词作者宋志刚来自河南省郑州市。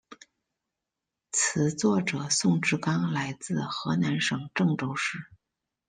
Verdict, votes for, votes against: accepted, 2, 0